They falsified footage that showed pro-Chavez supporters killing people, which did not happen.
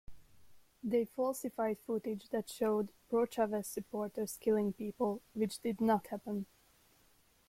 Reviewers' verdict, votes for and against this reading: accepted, 2, 0